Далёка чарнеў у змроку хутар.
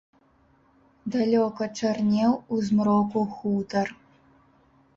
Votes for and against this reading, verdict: 2, 0, accepted